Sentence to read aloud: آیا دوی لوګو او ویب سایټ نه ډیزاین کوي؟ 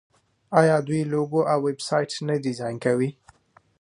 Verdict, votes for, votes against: accepted, 2, 0